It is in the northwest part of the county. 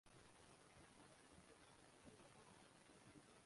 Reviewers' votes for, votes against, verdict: 0, 2, rejected